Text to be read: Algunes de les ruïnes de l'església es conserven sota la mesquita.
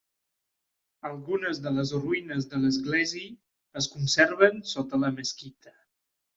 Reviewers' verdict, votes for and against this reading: rejected, 1, 2